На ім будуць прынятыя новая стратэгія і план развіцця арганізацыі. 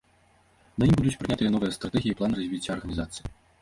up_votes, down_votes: 1, 2